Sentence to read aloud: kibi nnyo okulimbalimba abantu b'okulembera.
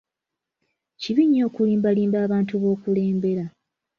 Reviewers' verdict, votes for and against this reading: accepted, 2, 0